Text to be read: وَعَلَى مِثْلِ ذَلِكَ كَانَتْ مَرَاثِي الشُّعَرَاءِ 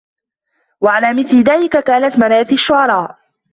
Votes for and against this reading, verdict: 2, 0, accepted